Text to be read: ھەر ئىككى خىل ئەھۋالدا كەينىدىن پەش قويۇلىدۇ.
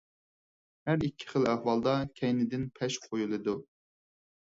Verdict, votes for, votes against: accepted, 4, 0